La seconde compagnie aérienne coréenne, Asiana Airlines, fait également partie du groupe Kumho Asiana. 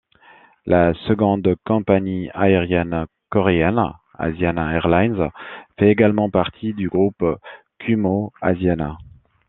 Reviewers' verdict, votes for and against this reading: accepted, 2, 0